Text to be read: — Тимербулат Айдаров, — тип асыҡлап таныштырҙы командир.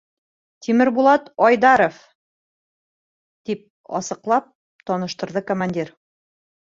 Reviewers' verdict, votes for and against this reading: accepted, 2, 0